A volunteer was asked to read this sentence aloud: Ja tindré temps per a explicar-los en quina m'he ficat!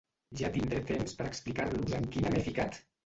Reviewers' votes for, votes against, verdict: 0, 2, rejected